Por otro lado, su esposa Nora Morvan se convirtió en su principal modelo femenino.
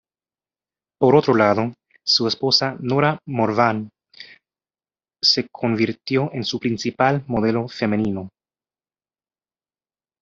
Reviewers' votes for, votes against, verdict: 1, 2, rejected